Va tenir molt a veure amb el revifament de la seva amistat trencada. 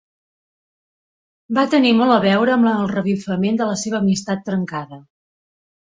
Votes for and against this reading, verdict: 3, 1, accepted